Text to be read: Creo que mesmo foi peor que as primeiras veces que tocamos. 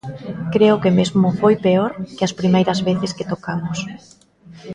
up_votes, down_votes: 0, 2